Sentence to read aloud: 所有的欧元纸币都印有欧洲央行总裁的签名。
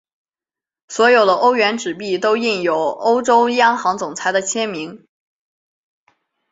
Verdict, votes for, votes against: accepted, 3, 0